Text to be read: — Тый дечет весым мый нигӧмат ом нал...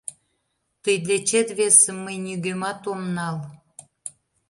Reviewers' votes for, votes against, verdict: 2, 0, accepted